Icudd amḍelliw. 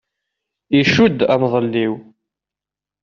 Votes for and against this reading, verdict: 2, 0, accepted